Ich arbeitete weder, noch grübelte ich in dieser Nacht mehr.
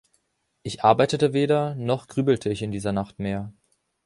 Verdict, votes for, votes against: accepted, 2, 0